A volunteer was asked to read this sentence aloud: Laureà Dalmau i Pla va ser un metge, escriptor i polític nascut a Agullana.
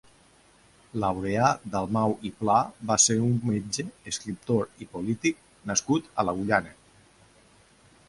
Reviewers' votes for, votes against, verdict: 1, 2, rejected